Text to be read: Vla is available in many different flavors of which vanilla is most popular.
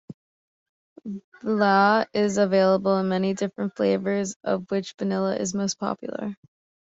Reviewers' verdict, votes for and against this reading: accepted, 2, 0